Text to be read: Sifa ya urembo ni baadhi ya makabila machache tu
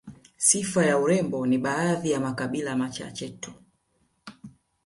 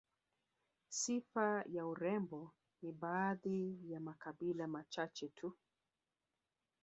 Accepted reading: first